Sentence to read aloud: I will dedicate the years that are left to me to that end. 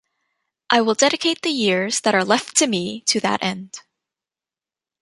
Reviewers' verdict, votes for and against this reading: accepted, 2, 0